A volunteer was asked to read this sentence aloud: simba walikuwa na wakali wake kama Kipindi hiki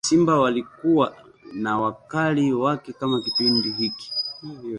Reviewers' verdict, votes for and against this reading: rejected, 1, 2